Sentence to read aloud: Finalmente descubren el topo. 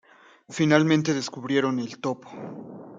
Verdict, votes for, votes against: rejected, 0, 2